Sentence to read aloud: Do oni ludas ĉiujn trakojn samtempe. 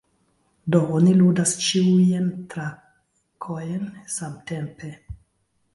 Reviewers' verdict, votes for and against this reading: rejected, 0, 2